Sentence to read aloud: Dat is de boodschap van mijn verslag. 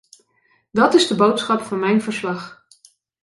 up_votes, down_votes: 2, 0